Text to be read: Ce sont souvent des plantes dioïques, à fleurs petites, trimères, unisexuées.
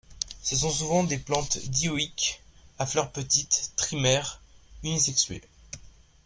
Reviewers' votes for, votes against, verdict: 2, 0, accepted